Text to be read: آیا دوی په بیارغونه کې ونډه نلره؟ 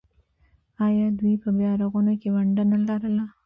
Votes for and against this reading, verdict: 2, 3, rejected